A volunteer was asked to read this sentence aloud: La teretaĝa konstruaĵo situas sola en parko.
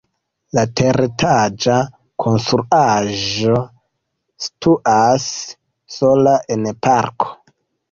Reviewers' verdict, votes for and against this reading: accepted, 2, 0